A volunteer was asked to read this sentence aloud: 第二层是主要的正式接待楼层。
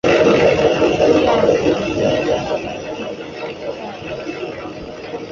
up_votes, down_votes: 0, 2